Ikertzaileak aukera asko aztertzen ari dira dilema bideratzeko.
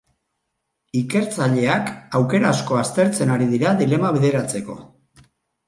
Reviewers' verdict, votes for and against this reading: accepted, 6, 0